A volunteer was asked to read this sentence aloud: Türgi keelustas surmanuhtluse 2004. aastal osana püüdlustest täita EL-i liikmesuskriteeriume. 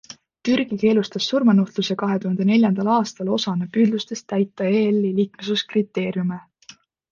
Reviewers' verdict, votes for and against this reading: rejected, 0, 2